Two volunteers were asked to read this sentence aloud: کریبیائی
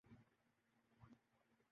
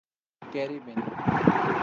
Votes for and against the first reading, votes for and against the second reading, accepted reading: 0, 4, 4, 0, second